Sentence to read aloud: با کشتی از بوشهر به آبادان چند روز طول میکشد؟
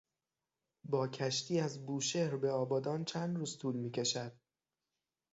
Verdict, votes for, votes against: accepted, 6, 0